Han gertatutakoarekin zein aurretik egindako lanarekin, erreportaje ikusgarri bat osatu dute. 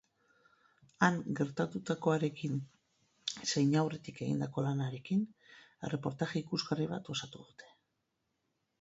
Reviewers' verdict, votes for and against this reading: accepted, 6, 0